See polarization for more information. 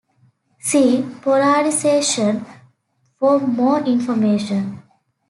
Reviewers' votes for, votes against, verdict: 2, 1, accepted